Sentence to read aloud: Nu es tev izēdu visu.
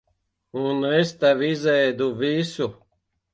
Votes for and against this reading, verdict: 1, 2, rejected